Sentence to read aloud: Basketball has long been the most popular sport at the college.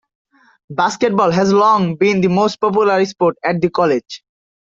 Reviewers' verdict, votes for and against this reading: accepted, 2, 0